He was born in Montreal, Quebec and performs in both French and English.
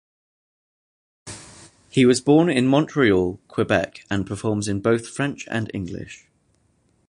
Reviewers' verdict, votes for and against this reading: accepted, 2, 0